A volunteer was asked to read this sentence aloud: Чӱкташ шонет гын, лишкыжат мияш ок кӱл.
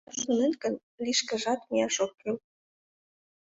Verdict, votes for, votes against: rejected, 1, 2